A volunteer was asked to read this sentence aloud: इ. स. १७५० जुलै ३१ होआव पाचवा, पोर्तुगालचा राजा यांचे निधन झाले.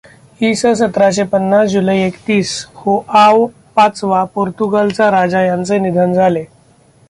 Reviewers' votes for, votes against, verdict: 0, 2, rejected